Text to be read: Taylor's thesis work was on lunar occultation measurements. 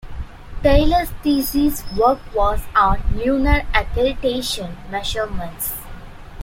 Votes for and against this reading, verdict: 0, 2, rejected